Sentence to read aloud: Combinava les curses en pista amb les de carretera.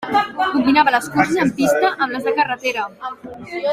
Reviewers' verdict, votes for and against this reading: accepted, 2, 1